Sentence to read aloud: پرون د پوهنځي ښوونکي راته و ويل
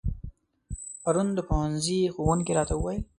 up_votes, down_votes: 2, 0